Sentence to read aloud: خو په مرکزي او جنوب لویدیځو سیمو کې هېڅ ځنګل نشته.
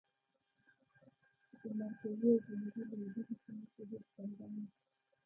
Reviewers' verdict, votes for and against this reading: rejected, 1, 2